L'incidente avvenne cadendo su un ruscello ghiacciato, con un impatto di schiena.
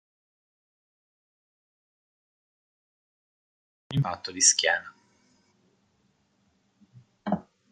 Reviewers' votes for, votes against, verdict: 0, 2, rejected